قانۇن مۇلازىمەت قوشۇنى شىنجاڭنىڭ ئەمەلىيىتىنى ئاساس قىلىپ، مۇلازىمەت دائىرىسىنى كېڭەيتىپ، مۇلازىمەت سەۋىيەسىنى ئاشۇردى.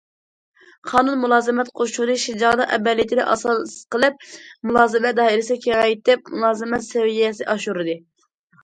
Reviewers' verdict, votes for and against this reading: rejected, 0, 2